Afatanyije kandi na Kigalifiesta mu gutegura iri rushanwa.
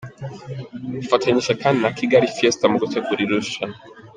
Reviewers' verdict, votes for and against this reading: accepted, 2, 0